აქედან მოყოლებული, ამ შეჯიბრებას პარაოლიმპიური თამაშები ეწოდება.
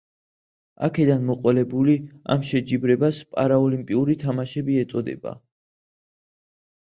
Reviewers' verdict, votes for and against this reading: accepted, 2, 0